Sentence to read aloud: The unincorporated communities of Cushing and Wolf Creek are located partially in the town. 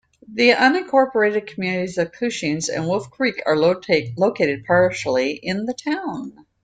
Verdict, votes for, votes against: rejected, 0, 2